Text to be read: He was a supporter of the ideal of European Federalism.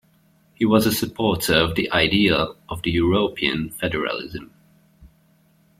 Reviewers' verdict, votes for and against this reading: rejected, 0, 2